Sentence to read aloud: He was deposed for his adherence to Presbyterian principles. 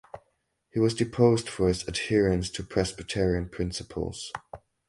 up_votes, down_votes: 2, 2